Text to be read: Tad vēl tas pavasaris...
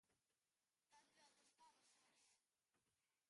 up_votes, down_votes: 0, 2